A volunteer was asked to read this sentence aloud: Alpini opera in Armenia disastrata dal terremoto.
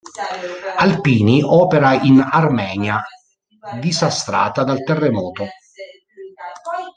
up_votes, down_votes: 1, 2